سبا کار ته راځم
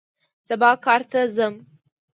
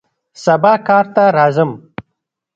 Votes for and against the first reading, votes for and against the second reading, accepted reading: 0, 2, 2, 0, second